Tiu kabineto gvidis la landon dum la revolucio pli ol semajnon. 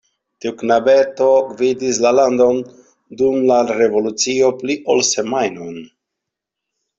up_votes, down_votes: 0, 2